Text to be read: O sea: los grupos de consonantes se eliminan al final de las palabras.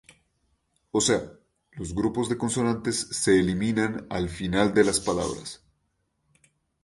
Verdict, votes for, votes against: accepted, 2, 0